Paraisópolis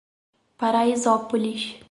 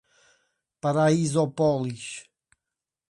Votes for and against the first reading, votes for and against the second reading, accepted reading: 4, 0, 0, 2, first